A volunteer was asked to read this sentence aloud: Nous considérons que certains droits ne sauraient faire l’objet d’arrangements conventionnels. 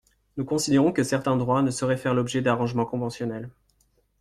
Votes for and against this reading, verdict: 2, 0, accepted